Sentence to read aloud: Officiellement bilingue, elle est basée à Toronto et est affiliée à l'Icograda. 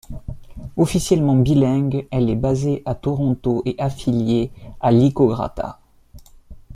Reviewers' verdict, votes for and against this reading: rejected, 1, 2